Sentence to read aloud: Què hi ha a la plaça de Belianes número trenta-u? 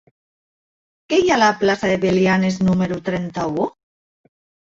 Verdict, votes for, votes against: accepted, 2, 0